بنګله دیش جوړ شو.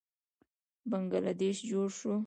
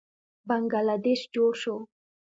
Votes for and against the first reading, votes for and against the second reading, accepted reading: 0, 2, 2, 0, second